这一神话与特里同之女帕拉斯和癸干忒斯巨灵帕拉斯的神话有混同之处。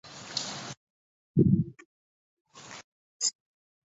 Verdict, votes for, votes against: rejected, 0, 5